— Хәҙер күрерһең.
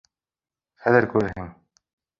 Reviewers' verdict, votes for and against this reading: accepted, 2, 1